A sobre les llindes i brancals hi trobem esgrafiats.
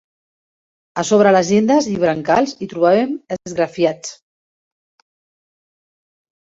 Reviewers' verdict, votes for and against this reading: rejected, 1, 2